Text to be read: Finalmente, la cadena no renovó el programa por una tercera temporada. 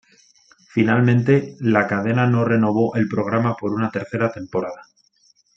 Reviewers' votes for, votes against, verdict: 2, 0, accepted